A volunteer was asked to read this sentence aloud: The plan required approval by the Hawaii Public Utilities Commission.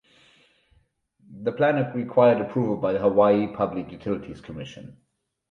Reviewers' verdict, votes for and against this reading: rejected, 2, 2